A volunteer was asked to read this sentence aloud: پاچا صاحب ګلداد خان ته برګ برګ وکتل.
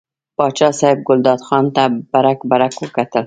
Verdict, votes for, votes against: accepted, 2, 0